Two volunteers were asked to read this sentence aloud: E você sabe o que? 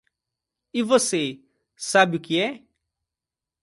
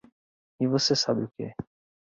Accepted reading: second